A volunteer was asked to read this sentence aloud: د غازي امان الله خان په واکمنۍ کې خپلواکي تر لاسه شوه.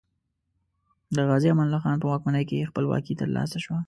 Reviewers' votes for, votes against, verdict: 2, 0, accepted